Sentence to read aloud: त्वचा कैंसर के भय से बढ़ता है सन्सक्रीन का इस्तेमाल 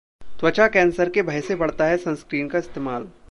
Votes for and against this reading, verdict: 2, 0, accepted